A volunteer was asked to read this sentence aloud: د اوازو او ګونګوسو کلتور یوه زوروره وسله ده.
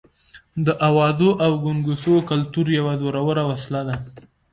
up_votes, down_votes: 2, 0